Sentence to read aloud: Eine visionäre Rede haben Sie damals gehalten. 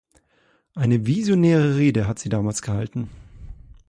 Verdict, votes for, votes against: rejected, 0, 2